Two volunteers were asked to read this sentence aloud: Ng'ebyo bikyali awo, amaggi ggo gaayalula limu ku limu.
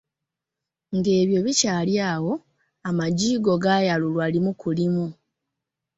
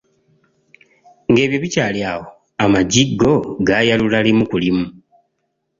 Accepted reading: second